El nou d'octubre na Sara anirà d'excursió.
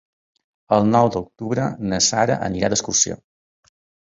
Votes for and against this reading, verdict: 3, 0, accepted